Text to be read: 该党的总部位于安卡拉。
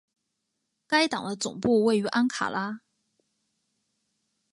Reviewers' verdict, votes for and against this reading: accepted, 2, 0